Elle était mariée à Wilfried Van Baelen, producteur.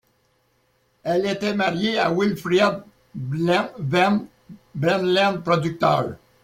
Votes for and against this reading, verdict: 1, 2, rejected